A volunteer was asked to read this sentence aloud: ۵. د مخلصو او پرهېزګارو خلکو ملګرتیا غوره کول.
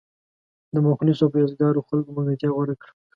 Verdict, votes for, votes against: rejected, 0, 2